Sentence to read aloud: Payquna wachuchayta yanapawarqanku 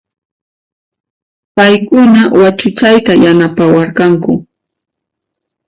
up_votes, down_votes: 1, 2